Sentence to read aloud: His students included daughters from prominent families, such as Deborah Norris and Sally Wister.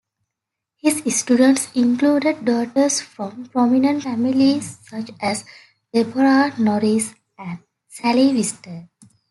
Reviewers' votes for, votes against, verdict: 2, 1, accepted